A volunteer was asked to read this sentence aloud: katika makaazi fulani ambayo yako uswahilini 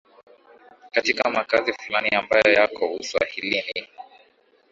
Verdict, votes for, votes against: rejected, 1, 2